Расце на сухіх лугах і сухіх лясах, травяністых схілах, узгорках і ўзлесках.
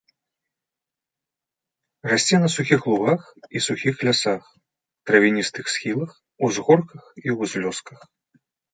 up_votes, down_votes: 1, 2